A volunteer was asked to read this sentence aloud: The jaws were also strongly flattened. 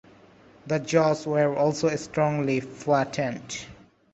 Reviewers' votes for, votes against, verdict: 2, 0, accepted